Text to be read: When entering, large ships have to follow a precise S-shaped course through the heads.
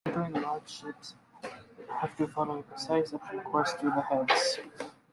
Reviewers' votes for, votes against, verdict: 0, 2, rejected